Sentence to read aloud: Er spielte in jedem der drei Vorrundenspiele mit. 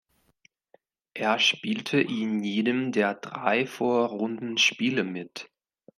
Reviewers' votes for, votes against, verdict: 1, 2, rejected